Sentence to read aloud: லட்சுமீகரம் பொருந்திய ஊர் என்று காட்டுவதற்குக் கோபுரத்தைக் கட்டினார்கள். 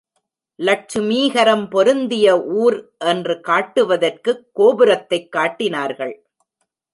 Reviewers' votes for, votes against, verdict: 1, 2, rejected